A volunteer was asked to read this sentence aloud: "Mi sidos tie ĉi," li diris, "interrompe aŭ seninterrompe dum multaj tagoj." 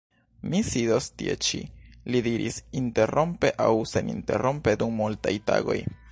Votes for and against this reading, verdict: 1, 2, rejected